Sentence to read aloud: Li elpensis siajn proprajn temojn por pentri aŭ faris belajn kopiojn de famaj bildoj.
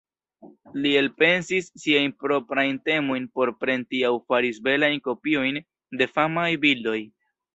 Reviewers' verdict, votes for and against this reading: accepted, 2, 0